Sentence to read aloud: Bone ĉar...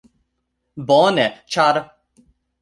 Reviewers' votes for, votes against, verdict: 2, 0, accepted